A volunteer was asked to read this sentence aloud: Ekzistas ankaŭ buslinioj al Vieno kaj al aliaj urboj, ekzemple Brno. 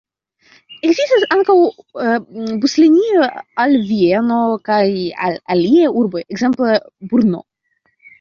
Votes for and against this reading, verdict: 0, 2, rejected